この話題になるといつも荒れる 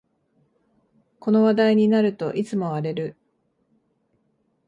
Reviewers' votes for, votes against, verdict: 2, 0, accepted